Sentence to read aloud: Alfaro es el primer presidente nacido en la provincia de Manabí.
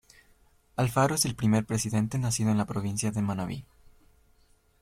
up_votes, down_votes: 2, 1